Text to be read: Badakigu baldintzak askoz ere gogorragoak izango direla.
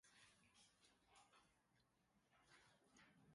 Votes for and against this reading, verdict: 0, 3, rejected